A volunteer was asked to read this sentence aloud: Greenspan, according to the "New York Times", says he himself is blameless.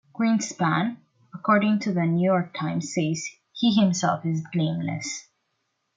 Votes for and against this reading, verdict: 2, 0, accepted